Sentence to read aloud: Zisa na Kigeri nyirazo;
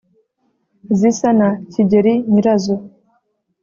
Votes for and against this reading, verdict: 2, 0, accepted